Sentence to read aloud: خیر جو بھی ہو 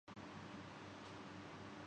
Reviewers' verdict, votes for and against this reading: rejected, 0, 2